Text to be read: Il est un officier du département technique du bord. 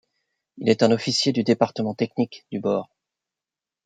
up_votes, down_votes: 1, 2